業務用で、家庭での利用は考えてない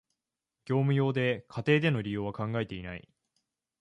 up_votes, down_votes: 0, 2